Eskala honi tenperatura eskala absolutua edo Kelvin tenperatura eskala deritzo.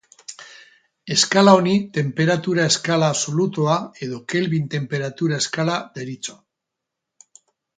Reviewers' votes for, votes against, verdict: 2, 4, rejected